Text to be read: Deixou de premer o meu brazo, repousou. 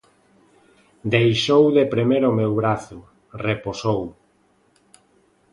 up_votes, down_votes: 0, 2